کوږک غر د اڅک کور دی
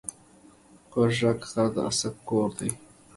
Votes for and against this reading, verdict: 2, 0, accepted